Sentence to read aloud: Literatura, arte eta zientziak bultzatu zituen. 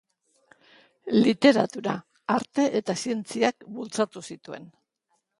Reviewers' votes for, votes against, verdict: 2, 0, accepted